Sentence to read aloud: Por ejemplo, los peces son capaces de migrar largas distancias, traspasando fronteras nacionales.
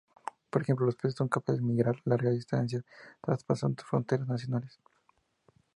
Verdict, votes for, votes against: accepted, 2, 0